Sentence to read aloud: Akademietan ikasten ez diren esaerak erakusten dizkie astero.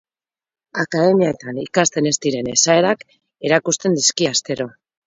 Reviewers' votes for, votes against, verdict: 2, 0, accepted